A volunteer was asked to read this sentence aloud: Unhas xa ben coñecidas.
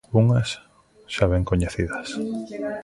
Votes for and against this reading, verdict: 1, 2, rejected